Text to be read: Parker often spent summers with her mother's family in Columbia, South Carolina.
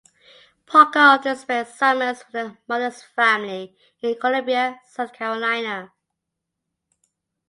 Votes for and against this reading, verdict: 2, 0, accepted